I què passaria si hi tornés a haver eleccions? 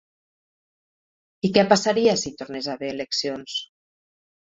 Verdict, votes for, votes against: accepted, 4, 0